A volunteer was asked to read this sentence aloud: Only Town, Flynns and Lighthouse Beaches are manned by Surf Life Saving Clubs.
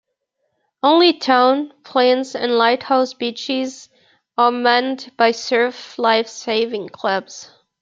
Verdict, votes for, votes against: accepted, 2, 0